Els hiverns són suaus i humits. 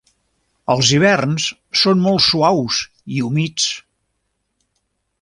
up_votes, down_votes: 0, 2